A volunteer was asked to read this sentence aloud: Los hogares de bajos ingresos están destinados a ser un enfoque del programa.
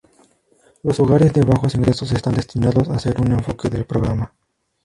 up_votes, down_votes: 4, 4